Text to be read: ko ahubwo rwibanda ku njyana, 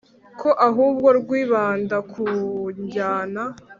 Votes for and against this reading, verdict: 3, 0, accepted